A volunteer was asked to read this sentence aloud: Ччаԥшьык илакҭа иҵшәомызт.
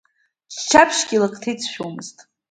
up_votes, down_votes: 0, 2